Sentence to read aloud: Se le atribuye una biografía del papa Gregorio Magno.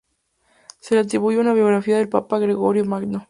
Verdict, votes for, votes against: accepted, 2, 0